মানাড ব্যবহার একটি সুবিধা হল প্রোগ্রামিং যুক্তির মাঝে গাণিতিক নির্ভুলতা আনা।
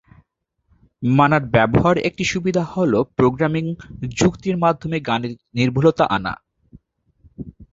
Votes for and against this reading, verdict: 4, 4, rejected